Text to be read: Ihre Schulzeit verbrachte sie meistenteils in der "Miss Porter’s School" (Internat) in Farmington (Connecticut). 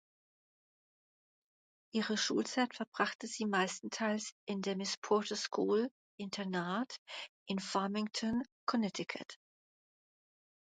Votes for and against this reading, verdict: 2, 0, accepted